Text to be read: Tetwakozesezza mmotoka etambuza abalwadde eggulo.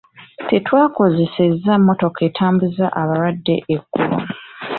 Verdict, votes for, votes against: accepted, 2, 0